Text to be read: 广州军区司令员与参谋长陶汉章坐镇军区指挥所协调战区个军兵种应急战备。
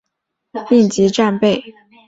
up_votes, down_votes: 2, 1